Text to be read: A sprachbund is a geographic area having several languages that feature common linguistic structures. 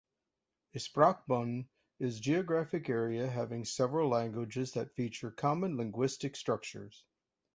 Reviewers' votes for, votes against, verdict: 1, 2, rejected